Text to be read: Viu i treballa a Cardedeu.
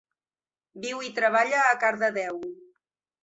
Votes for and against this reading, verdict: 3, 0, accepted